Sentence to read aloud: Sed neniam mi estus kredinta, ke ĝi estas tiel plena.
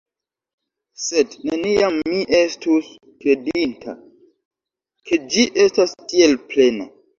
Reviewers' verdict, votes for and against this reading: accepted, 2, 1